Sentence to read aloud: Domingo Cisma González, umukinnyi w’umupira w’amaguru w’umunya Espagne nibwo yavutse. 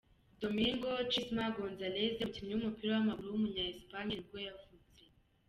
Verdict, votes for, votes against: rejected, 0, 2